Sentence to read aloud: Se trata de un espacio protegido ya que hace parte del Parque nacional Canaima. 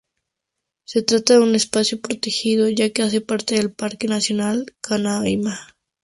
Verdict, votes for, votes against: accepted, 2, 0